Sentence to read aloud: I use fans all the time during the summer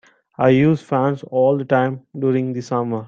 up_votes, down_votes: 2, 0